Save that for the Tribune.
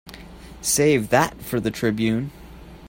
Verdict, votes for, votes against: accepted, 3, 0